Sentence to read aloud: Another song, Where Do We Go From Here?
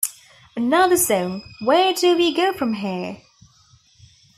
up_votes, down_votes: 2, 0